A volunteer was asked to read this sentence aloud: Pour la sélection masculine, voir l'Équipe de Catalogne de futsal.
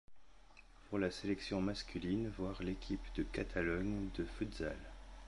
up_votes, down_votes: 2, 0